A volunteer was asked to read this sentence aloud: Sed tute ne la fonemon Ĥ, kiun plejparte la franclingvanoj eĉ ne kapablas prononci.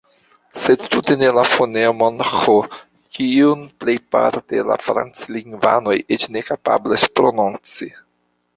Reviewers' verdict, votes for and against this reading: accepted, 2, 1